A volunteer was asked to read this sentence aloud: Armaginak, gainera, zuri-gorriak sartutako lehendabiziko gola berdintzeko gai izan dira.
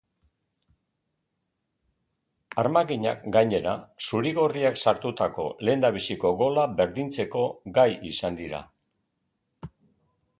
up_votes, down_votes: 2, 0